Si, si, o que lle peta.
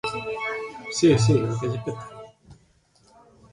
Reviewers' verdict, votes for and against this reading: rejected, 0, 2